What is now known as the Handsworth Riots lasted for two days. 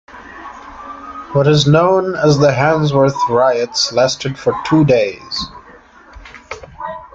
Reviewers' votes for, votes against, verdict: 2, 0, accepted